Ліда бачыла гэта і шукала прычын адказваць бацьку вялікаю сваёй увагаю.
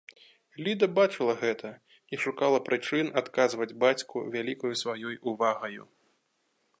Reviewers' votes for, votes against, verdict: 3, 0, accepted